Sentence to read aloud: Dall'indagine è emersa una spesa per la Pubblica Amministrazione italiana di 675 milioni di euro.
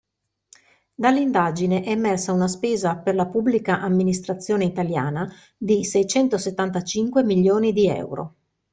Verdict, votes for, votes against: rejected, 0, 2